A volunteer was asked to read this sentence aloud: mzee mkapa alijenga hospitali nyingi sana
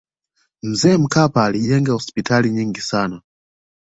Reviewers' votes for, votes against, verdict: 2, 0, accepted